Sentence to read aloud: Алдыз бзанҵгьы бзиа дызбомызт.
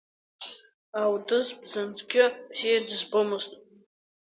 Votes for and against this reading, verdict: 8, 0, accepted